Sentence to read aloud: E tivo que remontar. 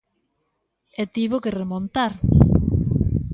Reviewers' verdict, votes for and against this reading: accepted, 2, 0